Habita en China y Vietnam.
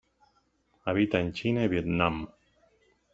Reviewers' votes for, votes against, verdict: 1, 2, rejected